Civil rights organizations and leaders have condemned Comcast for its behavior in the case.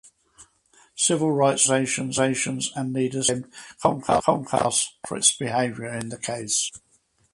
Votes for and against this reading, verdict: 0, 4, rejected